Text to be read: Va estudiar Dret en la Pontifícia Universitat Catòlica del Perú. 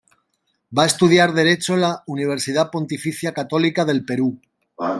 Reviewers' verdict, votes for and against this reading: rejected, 0, 2